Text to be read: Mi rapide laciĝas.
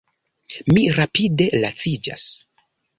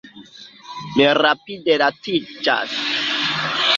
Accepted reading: first